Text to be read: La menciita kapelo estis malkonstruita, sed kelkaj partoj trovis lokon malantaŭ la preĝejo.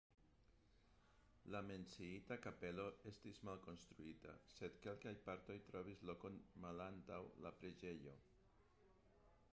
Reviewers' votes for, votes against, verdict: 0, 2, rejected